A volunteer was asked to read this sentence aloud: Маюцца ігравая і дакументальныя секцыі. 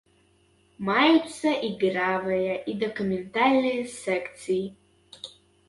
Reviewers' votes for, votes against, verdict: 0, 3, rejected